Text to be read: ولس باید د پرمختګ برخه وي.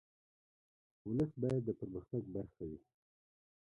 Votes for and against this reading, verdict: 1, 2, rejected